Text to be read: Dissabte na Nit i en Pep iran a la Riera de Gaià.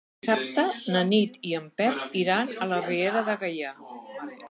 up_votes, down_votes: 1, 2